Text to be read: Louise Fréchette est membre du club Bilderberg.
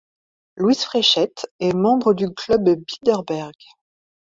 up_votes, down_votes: 2, 0